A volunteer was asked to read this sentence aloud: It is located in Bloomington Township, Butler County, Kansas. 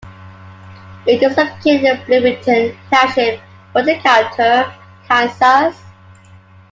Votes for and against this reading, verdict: 2, 1, accepted